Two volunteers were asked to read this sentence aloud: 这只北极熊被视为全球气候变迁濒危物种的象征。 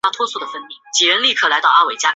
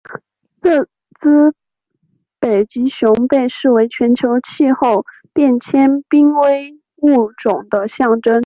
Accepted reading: second